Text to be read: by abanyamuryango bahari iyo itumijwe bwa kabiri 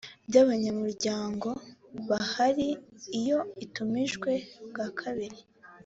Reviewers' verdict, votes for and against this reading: accepted, 2, 0